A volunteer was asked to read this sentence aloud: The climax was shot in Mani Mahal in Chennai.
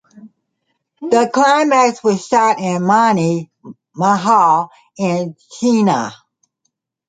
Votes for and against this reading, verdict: 0, 2, rejected